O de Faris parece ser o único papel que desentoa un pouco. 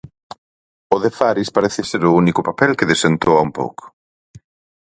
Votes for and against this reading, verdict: 4, 0, accepted